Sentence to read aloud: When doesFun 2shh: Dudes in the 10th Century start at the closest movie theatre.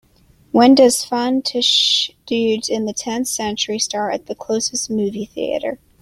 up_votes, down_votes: 0, 2